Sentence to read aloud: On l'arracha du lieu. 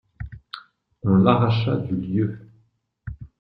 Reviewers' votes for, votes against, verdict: 2, 0, accepted